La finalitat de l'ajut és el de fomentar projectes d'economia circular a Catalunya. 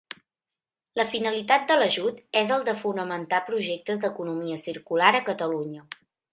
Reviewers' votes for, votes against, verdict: 1, 2, rejected